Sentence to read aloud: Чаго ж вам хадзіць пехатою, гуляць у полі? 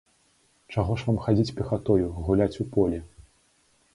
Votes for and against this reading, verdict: 3, 0, accepted